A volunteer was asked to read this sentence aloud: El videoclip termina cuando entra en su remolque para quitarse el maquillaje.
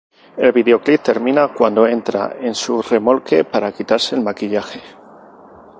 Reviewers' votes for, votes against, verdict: 2, 0, accepted